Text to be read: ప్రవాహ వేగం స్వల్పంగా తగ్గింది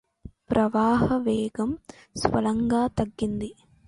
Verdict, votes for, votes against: rejected, 0, 2